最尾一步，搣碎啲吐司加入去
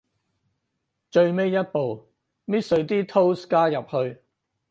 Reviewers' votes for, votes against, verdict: 2, 2, rejected